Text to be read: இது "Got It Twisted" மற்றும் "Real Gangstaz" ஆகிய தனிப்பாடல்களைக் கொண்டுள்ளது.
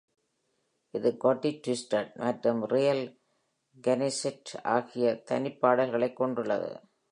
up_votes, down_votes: 0, 2